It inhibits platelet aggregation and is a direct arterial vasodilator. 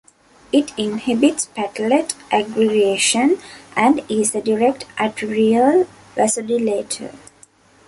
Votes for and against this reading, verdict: 2, 1, accepted